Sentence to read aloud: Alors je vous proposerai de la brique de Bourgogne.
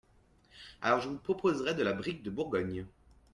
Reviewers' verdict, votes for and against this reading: rejected, 1, 2